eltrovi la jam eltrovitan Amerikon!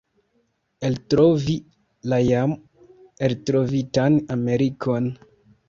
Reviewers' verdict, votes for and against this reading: accepted, 2, 1